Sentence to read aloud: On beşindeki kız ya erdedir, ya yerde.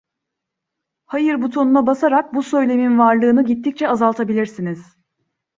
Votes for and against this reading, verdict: 0, 2, rejected